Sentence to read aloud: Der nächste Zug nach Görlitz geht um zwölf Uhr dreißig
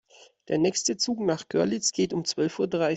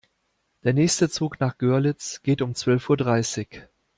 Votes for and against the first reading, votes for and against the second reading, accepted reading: 0, 2, 2, 0, second